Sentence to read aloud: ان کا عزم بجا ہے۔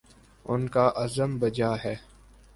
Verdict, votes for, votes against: accepted, 15, 0